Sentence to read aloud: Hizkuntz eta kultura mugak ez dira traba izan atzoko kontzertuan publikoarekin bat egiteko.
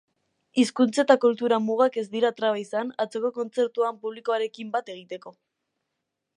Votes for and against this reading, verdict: 2, 0, accepted